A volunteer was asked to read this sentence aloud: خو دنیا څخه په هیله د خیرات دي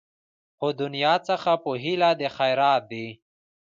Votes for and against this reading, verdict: 1, 2, rejected